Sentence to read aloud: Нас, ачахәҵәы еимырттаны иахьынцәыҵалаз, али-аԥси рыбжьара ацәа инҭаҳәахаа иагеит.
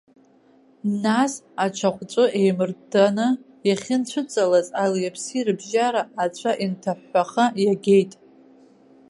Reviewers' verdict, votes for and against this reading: accepted, 2, 0